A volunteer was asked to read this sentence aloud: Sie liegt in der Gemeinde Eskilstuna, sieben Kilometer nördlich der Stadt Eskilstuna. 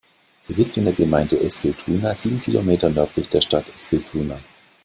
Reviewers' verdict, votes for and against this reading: rejected, 1, 2